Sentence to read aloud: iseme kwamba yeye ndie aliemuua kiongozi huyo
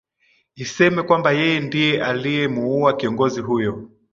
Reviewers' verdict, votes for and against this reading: accepted, 2, 1